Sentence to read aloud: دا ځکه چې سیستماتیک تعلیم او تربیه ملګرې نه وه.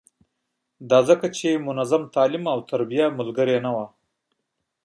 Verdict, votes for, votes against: rejected, 0, 2